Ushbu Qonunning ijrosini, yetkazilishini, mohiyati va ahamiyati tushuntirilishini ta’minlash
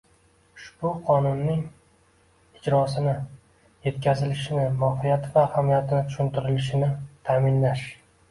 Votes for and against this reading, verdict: 2, 1, accepted